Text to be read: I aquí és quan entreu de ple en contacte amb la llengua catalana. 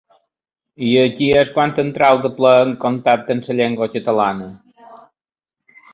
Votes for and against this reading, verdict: 1, 2, rejected